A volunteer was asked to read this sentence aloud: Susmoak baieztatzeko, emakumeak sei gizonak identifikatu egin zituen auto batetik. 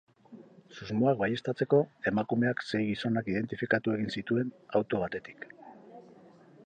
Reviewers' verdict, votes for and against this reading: rejected, 2, 2